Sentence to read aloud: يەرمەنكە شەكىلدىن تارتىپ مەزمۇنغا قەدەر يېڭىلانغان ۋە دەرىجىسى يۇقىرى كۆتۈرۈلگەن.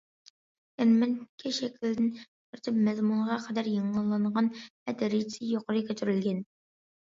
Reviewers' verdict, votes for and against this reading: rejected, 1, 2